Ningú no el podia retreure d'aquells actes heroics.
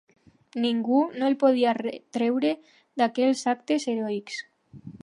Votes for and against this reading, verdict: 2, 0, accepted